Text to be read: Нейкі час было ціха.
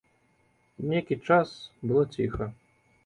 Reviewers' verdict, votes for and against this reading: accepted, 2, 0